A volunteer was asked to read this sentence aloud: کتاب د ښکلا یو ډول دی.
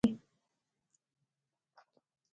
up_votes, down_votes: 0, 3